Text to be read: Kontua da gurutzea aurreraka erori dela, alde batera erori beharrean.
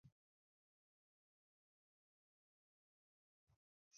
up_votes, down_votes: 0, 4